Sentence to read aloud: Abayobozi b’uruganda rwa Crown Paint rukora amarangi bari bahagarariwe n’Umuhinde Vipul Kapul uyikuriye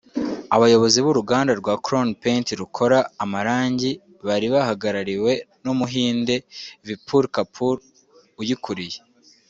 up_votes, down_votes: 2, 0